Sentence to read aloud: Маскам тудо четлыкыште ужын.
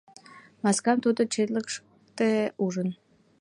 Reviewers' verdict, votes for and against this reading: rejected, 0, 2